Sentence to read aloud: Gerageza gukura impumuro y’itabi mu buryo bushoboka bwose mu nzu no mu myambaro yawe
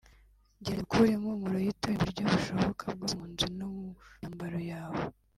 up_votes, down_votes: 1, 4